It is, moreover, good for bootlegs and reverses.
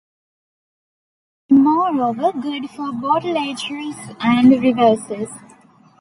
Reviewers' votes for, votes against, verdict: 0, 2, rejected